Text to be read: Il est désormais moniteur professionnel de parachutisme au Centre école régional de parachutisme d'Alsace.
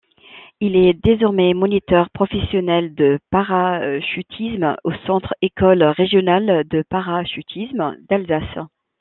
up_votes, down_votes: 1, 2